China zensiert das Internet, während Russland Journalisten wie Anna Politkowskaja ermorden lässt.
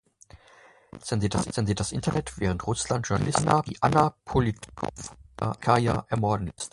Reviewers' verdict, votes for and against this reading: rejected, 0, 2